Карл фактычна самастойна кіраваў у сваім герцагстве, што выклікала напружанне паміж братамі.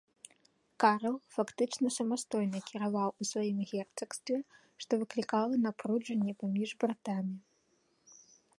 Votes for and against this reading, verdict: 1, 2, rejected